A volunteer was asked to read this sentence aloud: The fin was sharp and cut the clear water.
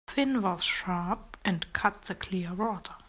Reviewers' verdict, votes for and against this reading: rejected, 0, 2